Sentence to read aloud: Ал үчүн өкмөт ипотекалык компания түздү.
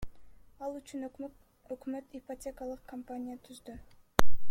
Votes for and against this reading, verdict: 0, 2, rejected